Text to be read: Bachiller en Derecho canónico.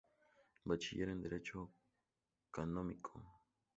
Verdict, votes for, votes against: accepted, 8, 2